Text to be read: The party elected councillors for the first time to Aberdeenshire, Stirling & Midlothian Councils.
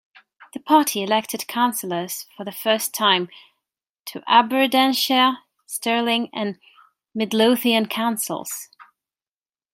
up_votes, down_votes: 2, 3